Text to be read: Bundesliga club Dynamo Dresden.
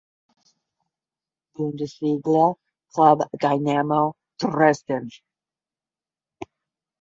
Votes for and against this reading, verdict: 10, 0, accepted